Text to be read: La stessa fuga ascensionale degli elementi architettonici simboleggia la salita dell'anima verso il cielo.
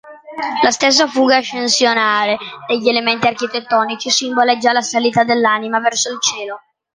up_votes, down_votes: 1, 2